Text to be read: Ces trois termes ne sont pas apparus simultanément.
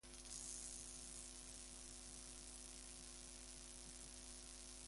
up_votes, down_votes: 0, 2